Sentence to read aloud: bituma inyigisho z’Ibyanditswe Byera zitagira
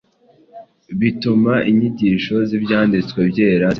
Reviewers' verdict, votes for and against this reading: rejected, 1, 2